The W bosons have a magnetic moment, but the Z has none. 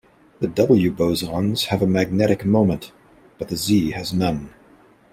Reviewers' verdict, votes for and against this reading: accepted, 2, 0